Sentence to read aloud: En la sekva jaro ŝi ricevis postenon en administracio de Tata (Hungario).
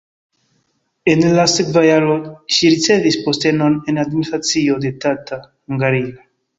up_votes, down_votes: 1, 2